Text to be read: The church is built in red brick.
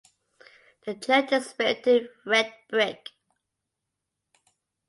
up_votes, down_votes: 0, 2